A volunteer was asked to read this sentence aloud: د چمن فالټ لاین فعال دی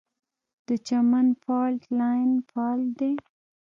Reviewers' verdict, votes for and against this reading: rejected, 1, 2